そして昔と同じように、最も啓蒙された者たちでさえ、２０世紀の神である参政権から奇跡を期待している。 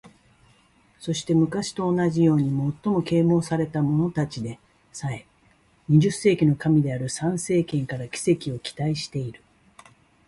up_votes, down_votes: 0, 2